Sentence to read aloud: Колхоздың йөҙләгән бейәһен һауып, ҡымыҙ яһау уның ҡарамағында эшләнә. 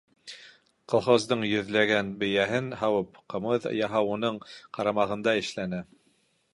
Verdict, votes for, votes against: accepted, 3, 0